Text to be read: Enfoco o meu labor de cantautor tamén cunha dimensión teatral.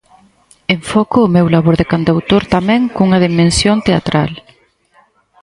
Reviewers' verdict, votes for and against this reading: accepted, 6, 0